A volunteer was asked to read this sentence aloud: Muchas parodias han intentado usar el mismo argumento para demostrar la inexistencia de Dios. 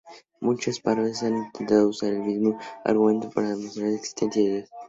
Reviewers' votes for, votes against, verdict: 2, 0, accepted